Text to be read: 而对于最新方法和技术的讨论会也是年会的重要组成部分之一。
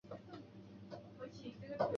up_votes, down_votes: 0, 2